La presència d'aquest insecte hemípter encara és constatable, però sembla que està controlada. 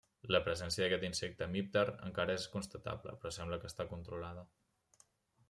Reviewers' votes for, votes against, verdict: 1, 2, rejected